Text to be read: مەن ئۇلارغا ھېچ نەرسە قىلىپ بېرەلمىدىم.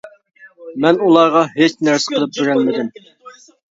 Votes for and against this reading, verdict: 2, 0, accepted